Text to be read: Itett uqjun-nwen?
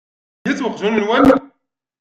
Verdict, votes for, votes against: rejected, 0, 2